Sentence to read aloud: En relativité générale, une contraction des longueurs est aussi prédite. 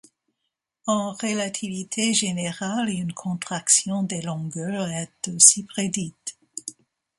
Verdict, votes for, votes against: accepted, 2, 1